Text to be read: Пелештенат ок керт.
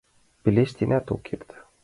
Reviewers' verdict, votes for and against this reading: accepted, 2, 0